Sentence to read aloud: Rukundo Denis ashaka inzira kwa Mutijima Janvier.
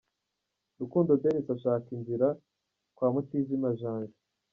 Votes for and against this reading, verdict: 1, 2, rejected